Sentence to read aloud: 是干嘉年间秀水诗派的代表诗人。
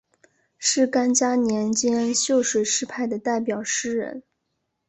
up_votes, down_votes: 2, 0